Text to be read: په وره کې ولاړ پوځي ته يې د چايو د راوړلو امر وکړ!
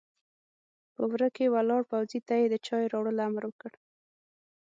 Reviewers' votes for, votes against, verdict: 6, 0, accepted